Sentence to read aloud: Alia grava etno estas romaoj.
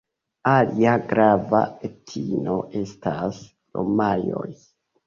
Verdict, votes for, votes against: rejected, 0, 2